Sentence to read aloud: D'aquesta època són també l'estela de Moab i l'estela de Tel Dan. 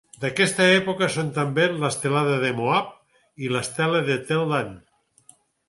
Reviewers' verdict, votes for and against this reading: rejected, 0, 4